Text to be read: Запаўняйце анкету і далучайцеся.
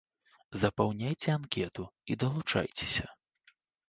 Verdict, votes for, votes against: accepted, 2, 0